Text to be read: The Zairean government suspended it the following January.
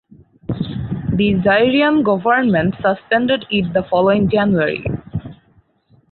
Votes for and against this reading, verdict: 2, 2, rejected